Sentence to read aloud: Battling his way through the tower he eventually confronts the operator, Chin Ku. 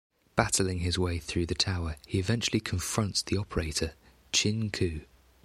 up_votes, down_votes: 2, 0